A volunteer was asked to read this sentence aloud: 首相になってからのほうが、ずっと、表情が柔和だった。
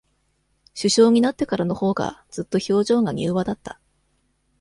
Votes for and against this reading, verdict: 2, 0, accepted